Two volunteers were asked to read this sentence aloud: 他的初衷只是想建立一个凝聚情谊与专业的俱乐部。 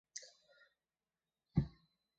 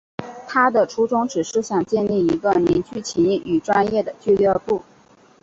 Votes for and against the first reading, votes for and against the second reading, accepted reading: 1, 2, 2, 0, second